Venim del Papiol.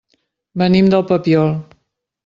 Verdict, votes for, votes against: accepted, 3, 0